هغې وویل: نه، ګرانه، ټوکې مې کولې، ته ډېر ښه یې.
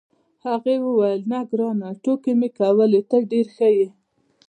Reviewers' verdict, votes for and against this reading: accepted, 2, 0